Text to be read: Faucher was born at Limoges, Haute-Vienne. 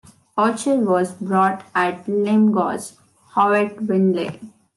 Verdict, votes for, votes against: rejected, 0, 2